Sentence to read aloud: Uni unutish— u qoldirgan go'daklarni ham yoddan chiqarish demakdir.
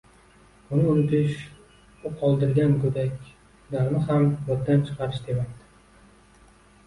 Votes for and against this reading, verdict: 2, 0, accepted